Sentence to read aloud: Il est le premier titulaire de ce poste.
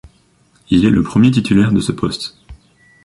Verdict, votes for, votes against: accepted, 2, 0